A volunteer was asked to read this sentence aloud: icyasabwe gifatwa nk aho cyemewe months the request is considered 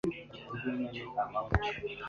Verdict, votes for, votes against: rejected, 0, 2